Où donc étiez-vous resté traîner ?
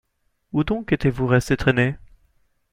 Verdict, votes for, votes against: rejected, 0, 2